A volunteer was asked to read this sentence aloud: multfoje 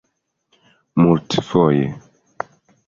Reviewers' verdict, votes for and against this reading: accepted, 2, 0